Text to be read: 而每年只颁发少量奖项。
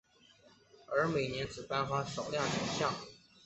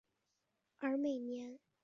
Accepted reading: first